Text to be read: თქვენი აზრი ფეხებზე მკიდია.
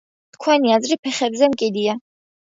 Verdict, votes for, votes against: accepted, 2, 0